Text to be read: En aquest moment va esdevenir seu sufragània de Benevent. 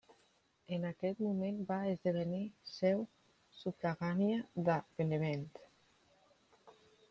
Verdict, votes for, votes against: rejected, 0, 2